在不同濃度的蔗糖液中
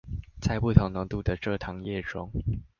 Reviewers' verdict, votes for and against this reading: accepted, 2, 1